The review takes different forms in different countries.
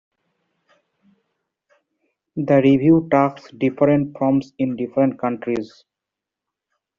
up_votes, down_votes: 1, 2